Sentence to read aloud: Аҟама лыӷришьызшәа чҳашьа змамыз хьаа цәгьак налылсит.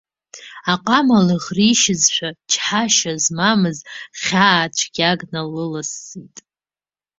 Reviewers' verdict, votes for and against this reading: accepted, 2, 1